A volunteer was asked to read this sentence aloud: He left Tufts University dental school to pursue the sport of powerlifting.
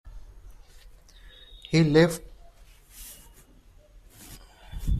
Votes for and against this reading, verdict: 0, 2, rejected